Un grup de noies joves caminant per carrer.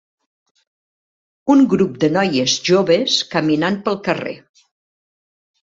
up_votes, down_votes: 0, 2